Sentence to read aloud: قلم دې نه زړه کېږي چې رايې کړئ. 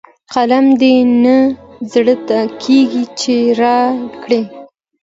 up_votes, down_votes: 2, 1